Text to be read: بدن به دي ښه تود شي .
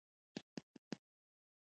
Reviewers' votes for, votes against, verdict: 1, 2, rejected